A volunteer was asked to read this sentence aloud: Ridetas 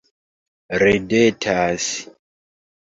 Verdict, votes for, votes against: rejected, 0, 3